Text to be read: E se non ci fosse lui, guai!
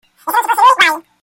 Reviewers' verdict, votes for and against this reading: rejected, 0, 2